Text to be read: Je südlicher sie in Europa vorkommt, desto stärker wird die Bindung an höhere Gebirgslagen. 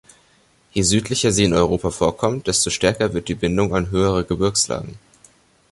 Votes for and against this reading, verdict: 2, 0, accepted